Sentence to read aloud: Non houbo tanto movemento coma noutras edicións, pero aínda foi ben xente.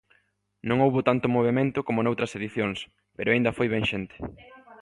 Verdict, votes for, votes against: accepted, 2, 0